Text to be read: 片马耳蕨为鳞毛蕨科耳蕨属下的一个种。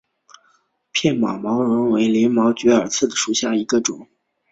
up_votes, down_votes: 2, 3